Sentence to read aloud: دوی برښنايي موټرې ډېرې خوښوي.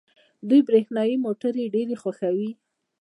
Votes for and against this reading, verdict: 2, 0, accepted